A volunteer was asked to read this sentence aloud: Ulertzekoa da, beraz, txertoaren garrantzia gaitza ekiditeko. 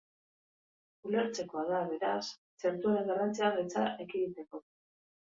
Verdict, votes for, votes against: rejected, 2, 2